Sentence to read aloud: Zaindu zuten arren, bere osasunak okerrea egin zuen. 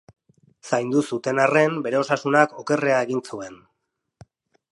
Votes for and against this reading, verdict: 0, 2, rejected